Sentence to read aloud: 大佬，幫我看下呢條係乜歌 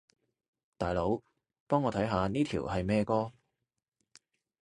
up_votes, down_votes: 1, 2